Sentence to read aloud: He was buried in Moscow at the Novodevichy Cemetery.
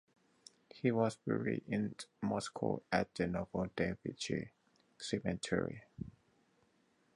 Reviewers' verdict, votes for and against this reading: accepted, 4, 2